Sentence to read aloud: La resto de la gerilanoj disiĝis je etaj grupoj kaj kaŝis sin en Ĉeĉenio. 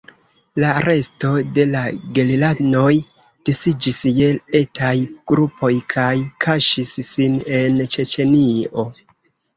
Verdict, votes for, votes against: rejected, 0, 2